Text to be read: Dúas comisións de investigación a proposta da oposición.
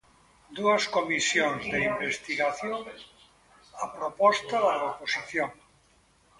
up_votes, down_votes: 1, 2